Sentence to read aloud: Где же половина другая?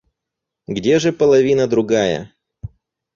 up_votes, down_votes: 4, 0